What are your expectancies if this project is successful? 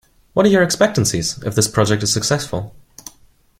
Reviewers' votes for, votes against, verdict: 2, 0, accepted